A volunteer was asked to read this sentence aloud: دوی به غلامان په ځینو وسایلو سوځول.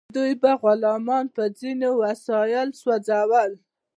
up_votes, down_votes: 2, 0